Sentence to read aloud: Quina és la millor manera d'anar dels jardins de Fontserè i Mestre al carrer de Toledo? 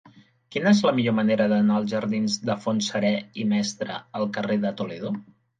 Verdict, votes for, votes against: rejected, 0, 2